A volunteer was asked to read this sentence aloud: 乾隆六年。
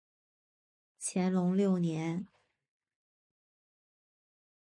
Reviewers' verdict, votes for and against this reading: accepted, 4, 0